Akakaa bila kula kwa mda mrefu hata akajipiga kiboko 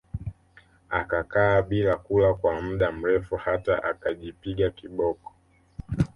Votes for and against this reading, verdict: 2, 0, accepted